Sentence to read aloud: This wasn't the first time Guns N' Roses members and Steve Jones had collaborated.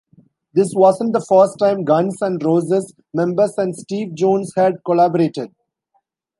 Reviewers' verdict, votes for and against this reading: accepted, 2, 1